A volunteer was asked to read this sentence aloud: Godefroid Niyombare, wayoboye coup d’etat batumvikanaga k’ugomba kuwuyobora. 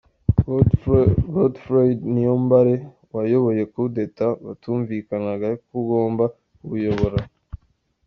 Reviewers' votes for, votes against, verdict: 0, 2, rejected